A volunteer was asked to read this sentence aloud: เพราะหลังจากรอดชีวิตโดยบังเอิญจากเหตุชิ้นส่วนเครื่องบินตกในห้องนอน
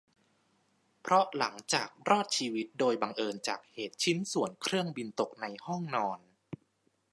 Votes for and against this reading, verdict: 1, 2, rejected